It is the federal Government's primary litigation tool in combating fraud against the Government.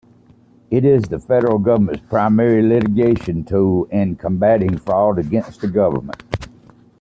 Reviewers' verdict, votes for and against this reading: accepted, 2, 0